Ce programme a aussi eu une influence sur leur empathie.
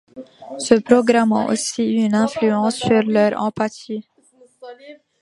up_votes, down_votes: 1, 2